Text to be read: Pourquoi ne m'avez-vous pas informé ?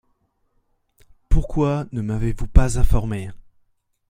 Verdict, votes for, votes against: accepted, 2, 0